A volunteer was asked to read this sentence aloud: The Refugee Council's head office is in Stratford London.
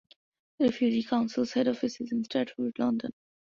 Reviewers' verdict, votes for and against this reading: rejected, 1, 2